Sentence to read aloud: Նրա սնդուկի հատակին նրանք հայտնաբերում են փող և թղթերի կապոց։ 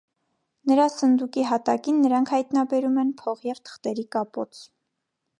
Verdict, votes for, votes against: accepted, 2, 0